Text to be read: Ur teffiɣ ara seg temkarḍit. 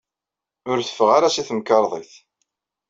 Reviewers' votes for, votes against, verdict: 1, 2, rejected